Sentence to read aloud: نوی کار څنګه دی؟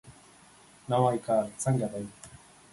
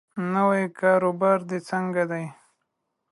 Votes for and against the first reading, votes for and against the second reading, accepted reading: 2, 0, 1, 2, first